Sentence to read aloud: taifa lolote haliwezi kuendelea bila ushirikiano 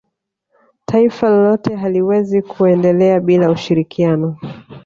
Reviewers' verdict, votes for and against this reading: accepted, 2, 0